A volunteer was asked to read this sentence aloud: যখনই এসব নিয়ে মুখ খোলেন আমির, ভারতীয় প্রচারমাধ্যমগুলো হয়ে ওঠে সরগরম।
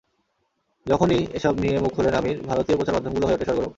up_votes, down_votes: 0, 2